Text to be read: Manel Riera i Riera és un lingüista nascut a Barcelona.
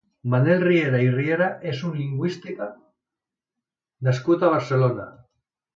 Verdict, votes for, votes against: rejected, 1, 2